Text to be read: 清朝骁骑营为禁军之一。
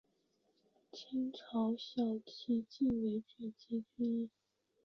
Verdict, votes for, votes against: rejected, 0, 2